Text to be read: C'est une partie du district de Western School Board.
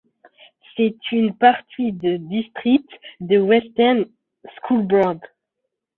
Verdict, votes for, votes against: rejected, 0, 2